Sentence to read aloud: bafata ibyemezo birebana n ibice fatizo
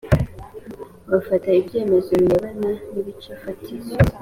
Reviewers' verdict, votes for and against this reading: accepted, 2, 1